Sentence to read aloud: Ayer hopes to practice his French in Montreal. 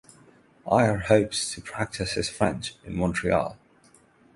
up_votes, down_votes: 6, 0